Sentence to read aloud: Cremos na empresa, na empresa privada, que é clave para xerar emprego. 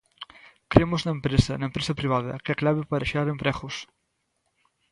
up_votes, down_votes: 0, 2